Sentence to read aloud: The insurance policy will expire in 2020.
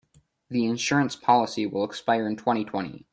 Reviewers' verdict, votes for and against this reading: rejected, 0, 2